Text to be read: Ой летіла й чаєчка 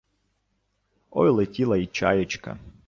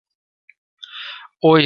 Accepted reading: first